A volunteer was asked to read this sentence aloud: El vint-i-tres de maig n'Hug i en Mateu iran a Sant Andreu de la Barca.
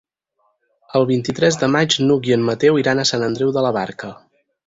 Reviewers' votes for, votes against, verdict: 6, 0, accepted